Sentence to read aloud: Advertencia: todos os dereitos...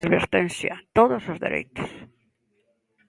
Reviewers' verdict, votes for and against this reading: accepted, 2, 1